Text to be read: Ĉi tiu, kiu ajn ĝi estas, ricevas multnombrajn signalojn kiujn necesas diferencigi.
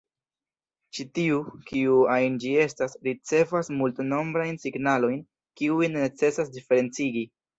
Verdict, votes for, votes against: rejected, 1, 2